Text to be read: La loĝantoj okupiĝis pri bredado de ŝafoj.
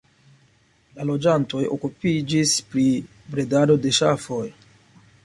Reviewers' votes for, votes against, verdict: 2, 0, accepted